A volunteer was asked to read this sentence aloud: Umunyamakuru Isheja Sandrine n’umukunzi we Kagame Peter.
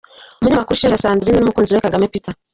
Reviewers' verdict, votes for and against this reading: rejected, 1, 2